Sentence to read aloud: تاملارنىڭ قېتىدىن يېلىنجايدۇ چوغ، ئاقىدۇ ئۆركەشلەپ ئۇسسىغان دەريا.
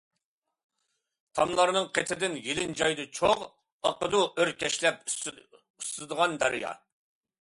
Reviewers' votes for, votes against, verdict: 0, 2, rejected